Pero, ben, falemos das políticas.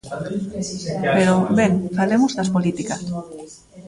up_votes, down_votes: 1, 2